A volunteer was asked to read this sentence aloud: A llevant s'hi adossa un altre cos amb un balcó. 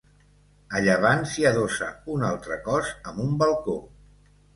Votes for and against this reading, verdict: 3, 0, accepted